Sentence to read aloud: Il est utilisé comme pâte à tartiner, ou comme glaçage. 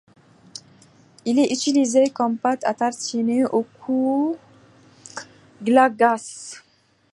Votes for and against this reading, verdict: 1, 2, rejected